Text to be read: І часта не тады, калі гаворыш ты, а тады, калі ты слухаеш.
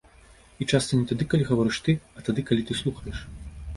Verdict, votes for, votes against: accepted, 2, 0